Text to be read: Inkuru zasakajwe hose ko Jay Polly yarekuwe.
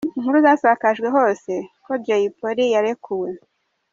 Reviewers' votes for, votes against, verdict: 2, 0, accepted